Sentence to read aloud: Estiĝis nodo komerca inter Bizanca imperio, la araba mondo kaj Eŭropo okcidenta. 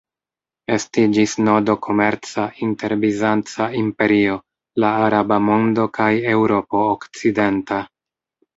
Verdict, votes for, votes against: accepted, 2, 0